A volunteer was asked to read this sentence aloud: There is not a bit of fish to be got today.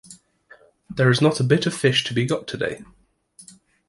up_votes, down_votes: 2, 0